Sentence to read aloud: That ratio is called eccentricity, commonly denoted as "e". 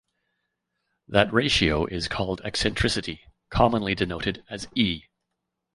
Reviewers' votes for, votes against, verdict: 1, 2, rejected